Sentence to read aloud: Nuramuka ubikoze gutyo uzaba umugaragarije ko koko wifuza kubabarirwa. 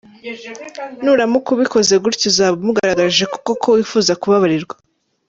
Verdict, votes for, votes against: accepted, 2, 0